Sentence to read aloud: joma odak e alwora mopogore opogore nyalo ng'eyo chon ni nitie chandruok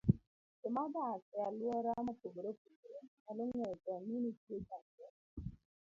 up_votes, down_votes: 0, 2